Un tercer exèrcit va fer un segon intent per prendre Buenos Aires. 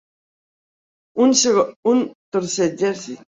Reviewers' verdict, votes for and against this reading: rejected, 1, 2